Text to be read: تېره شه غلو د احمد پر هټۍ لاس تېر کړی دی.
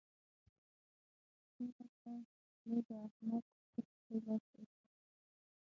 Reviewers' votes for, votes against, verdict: 0, 6, rejected